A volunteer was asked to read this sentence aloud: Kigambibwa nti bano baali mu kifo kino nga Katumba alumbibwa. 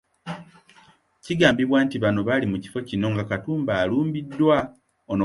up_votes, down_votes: 1, 2